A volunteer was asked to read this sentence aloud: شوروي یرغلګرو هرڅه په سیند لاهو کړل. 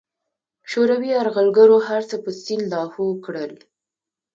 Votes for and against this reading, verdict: 2, 0, accepted